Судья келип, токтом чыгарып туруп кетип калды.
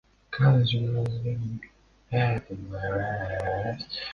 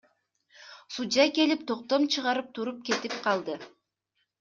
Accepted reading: second